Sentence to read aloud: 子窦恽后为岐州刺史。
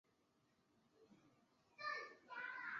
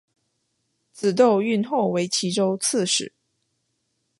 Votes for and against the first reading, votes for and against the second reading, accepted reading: 0, 6, 3, 0, second